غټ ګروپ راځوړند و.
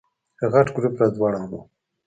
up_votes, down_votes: 3, 1